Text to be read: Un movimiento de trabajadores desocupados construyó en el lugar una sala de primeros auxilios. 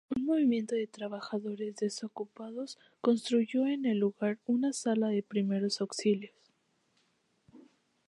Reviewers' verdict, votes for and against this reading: accepted, 4, 0